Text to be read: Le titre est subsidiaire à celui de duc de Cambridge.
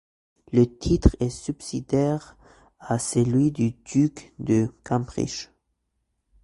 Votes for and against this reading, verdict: 1, 2, rejected